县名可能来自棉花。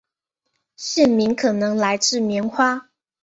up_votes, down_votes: 1, 2